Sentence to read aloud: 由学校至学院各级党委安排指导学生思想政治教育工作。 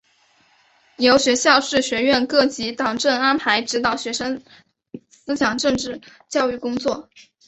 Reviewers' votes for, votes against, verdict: 6, 1, accepted